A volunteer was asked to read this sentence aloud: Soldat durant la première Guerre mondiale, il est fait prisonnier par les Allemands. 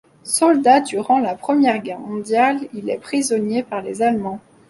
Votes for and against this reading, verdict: 1, 2, rejected